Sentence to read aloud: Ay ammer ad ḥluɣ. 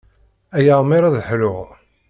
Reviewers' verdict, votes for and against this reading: rejected, 1, 2